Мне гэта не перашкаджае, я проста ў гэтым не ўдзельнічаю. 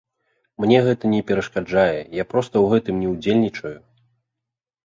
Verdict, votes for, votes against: rejected, 0, 2